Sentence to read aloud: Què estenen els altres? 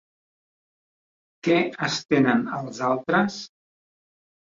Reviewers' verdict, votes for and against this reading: accepted, 2, 0